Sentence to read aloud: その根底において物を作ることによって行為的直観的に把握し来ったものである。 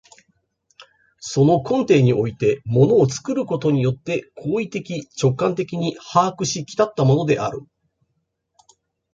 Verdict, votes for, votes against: accepted, 2, 0